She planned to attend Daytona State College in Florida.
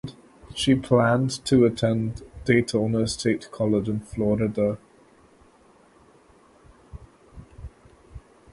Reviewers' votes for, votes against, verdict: 0, 2, rejected